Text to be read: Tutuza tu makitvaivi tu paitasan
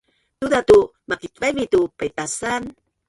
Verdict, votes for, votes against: rejected, 0, 3